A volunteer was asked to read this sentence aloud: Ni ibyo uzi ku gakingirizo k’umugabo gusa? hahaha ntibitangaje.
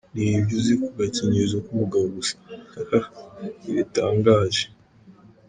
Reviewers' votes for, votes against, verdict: 1, 2, rejected